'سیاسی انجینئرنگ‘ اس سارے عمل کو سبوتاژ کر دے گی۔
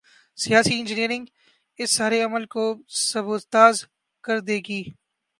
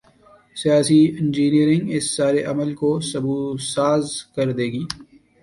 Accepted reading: first